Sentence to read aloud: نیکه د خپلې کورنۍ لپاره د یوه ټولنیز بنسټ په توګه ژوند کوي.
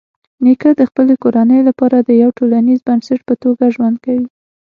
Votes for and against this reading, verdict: 6, 0, accepted